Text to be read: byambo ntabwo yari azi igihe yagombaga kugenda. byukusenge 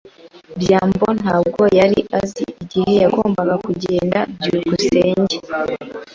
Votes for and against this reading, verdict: 2, 0, accepted